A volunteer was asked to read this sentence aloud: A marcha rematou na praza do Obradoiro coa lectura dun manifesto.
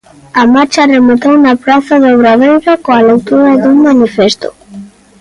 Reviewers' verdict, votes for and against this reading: accepted, 2, 1